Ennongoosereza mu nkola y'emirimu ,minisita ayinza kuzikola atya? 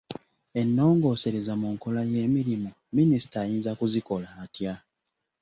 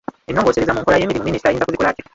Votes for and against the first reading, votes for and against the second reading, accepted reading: 2, 1, 0, 2, first